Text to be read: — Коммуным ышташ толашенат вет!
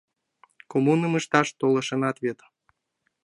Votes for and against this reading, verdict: 2, 0, accepted